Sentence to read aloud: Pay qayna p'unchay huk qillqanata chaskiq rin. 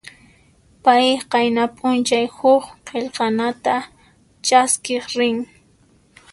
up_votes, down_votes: 2, 0